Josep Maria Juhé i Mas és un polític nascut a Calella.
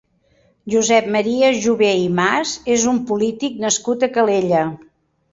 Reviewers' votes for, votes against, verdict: 0, 2, rejected